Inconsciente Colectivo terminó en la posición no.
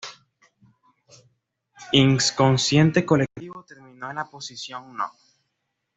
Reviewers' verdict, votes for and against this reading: accepted, 2, 1